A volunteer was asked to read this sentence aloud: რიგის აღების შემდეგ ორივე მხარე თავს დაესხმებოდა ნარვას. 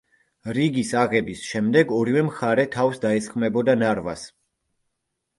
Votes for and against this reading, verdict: 2, 0, accepted